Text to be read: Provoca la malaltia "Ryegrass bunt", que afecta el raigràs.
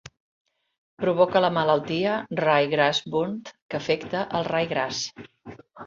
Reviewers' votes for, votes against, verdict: 2, 0, accepted